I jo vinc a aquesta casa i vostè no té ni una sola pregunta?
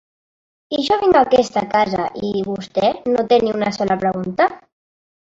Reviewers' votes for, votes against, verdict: 1, 2, rejected